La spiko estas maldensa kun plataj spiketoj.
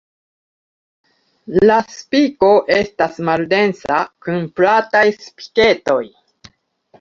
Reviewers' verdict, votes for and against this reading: accepted, 2, 0